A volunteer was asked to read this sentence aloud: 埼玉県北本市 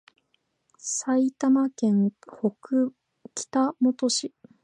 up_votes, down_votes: 0, 4